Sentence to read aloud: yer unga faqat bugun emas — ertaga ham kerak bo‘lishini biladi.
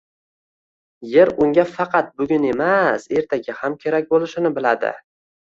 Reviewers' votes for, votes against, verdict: 0, 2, rejected